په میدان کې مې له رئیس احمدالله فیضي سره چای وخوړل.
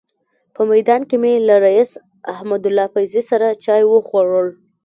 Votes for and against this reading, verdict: 2, 0, accepted